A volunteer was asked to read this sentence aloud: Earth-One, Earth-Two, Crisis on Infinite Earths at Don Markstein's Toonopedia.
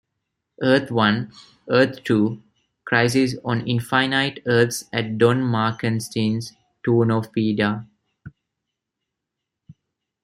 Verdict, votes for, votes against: rejected, 1, 2